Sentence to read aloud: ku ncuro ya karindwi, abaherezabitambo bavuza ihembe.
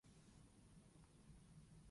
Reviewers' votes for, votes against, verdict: 0, 2, rejected